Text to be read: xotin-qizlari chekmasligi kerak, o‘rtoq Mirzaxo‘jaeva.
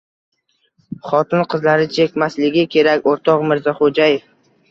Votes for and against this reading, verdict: 1, 2, rejected